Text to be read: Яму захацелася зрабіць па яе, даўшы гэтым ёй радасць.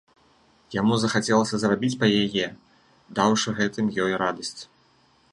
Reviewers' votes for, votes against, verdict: 2, 0, accepted